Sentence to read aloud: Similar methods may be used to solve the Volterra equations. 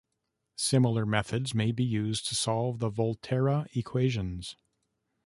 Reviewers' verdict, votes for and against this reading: accepted, 2, 0